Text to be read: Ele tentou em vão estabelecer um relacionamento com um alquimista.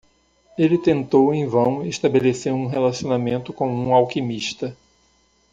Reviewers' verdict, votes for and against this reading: accepted, 2, 0